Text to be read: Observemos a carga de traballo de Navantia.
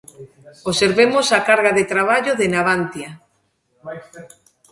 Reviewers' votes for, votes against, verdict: 2, 0, accepted